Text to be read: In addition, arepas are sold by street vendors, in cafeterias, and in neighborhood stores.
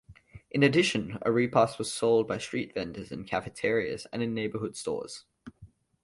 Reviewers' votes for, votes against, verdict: 2, 0, accepted